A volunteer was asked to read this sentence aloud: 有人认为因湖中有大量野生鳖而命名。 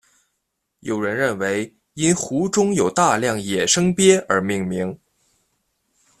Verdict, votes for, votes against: accepted, 2, 0